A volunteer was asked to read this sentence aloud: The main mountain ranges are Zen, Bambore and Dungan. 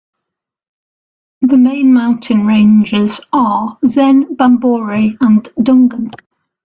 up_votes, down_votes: 2, 0